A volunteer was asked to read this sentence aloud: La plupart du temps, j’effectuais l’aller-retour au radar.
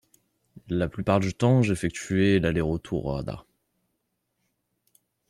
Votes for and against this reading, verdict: 2, 0, accepted